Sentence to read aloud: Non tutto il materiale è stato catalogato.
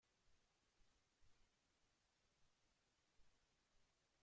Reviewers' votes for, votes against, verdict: 0, 2, rejected